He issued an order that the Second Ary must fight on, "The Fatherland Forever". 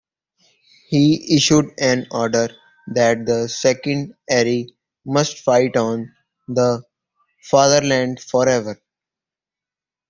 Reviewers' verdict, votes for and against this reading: accepted, 2, 1